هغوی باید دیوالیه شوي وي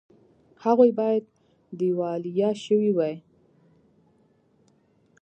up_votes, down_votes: 2, 0